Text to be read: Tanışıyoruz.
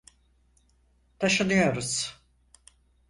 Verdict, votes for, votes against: rejected, 0, 4